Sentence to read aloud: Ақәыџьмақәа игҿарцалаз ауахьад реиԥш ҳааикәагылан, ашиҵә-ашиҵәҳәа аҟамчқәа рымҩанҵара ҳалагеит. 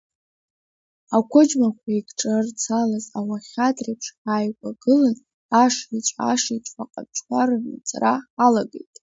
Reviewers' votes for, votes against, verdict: 1, 2, rejected